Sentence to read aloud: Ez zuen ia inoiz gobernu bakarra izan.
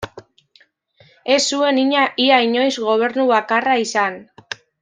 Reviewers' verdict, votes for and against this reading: rejected, 0, 2